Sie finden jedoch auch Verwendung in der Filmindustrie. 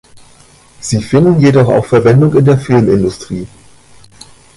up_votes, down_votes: 2, 1